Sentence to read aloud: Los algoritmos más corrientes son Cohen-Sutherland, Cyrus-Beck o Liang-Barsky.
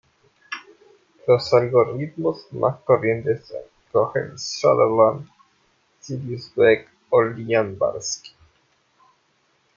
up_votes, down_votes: 0, 2